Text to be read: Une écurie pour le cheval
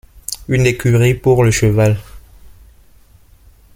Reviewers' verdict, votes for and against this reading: accepted, 2, 0